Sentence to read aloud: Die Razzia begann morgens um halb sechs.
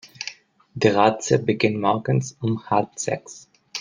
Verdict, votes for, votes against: rejected, 0, 2